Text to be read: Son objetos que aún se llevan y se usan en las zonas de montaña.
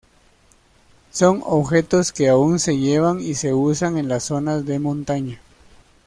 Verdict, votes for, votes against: accepted, 2, 0